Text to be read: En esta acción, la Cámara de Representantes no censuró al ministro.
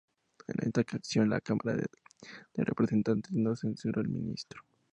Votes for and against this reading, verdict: 2, 0, accepted